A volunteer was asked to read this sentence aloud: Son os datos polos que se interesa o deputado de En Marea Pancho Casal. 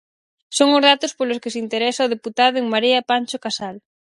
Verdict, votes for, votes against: rejected, 0, 4